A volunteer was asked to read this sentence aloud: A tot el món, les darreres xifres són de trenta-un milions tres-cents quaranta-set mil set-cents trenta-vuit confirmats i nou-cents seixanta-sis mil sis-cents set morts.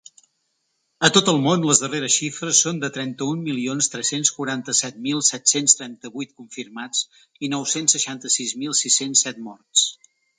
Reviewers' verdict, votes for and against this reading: accepted, 3, 0